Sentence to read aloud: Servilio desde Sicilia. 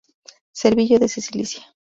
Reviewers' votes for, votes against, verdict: 0, 2, rejected